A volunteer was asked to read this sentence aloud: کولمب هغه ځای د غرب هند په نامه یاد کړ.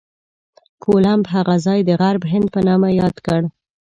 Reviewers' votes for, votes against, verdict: 2, 0, accepted